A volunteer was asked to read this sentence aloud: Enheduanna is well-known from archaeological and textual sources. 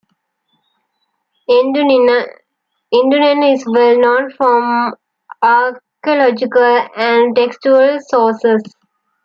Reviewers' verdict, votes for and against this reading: rejected, 1, 2